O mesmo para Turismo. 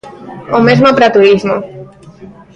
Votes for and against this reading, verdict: 1, 2, rejected